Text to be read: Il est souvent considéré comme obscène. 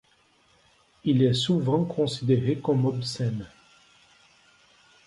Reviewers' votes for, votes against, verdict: 2, 1, accepted